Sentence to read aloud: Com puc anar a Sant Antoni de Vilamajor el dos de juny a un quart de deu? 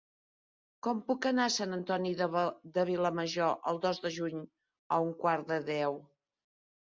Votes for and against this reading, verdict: 1, 2, rejected